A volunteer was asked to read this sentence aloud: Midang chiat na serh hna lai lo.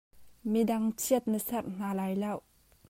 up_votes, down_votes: 2, 0